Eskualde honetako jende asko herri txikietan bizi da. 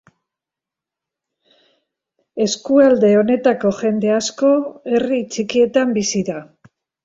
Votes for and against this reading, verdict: 2, 0, accepted